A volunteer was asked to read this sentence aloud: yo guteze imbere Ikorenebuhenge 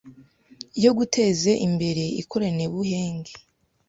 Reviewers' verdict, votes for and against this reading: rejected, 1, 2